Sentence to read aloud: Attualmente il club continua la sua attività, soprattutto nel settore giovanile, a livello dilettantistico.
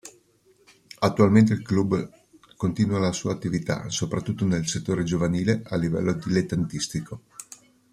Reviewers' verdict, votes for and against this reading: accepted, 2, 0